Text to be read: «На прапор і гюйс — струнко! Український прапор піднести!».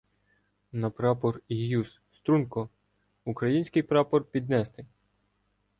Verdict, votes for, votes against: accepted, 2, 0